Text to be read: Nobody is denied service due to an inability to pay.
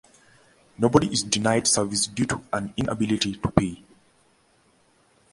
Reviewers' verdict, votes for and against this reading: accepted, 2, 0